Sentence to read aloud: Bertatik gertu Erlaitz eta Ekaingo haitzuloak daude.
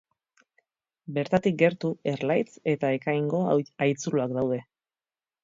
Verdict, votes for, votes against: rejected, 0, 4